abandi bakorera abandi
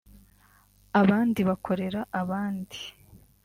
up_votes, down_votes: 2, 0